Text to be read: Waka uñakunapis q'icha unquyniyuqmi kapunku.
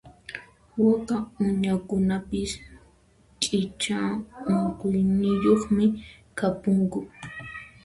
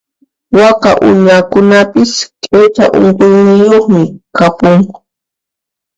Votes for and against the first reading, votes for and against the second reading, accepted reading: 1, 2, 2, 0, second